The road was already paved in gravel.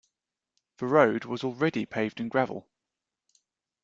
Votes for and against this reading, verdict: 2, 0, accepted